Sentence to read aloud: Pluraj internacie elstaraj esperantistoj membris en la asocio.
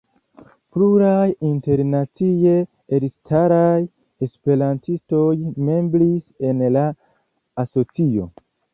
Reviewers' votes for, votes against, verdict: 2, 0, accepted